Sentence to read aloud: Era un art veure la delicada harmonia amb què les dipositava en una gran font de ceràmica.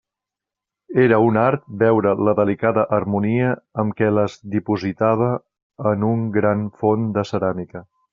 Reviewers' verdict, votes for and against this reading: rejected, 0, 2